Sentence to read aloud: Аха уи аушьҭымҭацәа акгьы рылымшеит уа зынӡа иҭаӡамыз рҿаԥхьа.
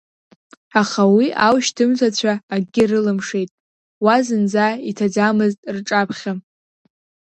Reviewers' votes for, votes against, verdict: 2, 0, accepted